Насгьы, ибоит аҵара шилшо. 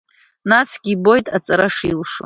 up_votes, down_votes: 2, 0